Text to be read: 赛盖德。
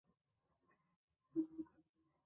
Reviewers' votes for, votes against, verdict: 3, 5, rejected